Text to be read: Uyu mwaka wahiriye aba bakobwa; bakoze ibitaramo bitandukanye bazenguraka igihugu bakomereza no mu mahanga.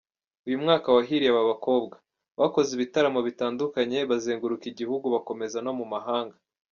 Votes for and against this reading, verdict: 2, 0, accepted